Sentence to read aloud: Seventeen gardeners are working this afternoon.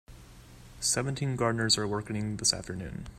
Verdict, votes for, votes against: rejected, 1, 2